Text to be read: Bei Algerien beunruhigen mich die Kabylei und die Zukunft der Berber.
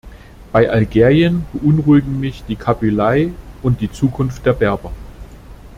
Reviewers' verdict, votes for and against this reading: accepted, 2, 0